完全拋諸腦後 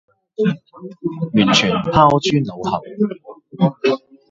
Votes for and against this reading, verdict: 1, 2, rejected